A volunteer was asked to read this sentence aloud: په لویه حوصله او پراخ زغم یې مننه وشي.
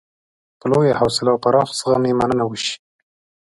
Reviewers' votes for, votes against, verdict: 2, 0, accepted